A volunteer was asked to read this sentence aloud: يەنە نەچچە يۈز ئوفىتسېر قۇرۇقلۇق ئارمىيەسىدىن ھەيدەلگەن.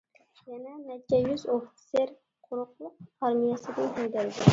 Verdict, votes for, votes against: rejected, 0, 2